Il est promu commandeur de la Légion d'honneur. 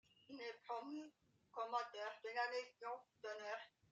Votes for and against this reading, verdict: 1, 2, rejected